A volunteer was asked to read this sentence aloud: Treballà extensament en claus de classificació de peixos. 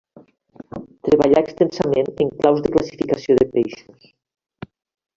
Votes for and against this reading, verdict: 0, 2, rejected